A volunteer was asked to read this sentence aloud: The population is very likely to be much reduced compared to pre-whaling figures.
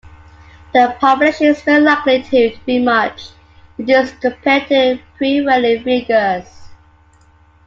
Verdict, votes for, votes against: rejected, 0, 2